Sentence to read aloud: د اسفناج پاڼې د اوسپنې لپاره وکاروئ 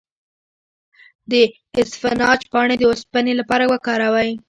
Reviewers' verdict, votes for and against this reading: rejected, 0, 2